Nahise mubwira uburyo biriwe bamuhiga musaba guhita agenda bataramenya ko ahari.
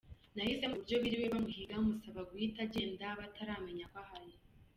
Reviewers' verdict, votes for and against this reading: accepted, 2, 0